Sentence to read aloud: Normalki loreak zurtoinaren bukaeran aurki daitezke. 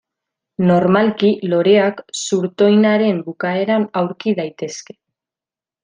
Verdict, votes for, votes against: accepted, 2, 0